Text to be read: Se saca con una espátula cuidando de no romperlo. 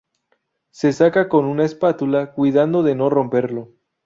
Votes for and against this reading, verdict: 2, 2, rejected